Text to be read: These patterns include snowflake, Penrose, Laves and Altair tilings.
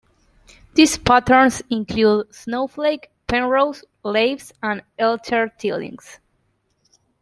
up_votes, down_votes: 2, 1